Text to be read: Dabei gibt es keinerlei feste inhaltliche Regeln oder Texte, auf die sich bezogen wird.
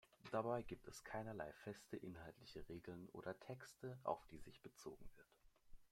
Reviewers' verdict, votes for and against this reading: accepted, 2, 0